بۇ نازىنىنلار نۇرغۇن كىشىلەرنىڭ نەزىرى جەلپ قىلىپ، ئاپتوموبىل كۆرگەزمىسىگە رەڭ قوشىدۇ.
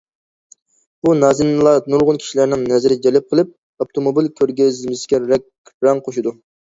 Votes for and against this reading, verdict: 0, 2, rejected